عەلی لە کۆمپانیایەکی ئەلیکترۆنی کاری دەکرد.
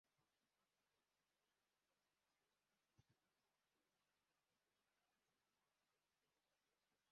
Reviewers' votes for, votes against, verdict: 0, 2, rejected